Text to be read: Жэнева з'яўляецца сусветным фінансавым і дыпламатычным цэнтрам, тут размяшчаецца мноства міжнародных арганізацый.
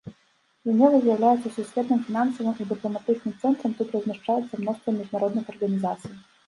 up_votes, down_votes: 1, 2